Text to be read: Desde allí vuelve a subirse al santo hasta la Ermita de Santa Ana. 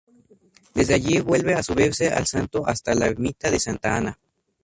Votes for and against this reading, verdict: 2, 2, rejected